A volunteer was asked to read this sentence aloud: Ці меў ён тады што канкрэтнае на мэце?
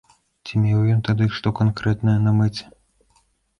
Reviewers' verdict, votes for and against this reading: accepted, 2, 0